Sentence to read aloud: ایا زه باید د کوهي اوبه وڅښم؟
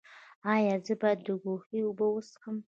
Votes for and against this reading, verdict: 2, 0, accepted